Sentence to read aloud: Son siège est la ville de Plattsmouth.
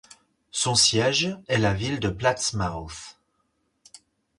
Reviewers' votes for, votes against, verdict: 4, 0, accepted